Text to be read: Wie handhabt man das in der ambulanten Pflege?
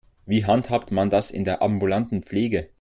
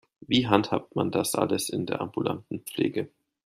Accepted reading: first